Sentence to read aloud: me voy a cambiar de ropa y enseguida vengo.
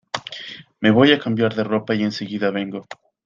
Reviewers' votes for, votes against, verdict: 2, 0, accepted